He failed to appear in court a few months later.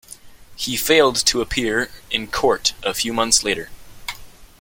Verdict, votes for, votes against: rejected, 1, 2